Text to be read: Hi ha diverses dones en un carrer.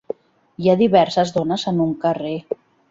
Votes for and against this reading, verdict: 1, 2, rejected